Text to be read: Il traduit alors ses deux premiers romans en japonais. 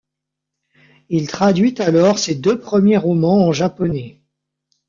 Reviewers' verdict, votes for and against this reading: accepted, 2, 0